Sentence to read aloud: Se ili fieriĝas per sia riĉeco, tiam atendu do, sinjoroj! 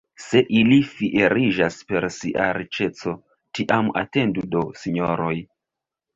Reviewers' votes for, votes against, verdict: 2, 1, accepted